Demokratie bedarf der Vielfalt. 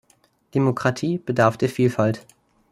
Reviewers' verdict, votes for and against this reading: accepted, 2, 0